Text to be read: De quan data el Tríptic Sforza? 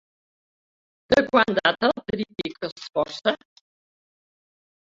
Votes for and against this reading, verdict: 0, 2, rejected